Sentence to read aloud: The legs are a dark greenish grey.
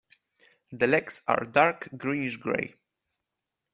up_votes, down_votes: 1, 2